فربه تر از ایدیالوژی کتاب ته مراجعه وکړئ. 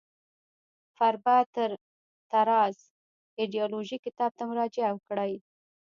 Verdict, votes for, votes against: rejected, 1, 2